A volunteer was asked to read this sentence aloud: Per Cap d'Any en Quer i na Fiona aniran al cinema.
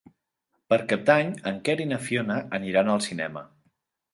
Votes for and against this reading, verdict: 2, 0, accepted